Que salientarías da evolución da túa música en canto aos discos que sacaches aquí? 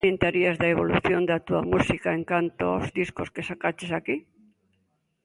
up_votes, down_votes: 0, 2